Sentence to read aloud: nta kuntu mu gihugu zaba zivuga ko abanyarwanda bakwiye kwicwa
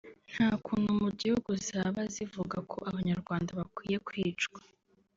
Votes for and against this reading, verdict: 0, 2, rejected